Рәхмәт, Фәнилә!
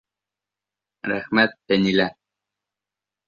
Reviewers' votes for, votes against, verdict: 2, 0, accepted